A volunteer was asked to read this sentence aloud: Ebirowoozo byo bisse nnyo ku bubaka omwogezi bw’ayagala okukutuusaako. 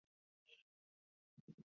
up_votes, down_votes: 0, 2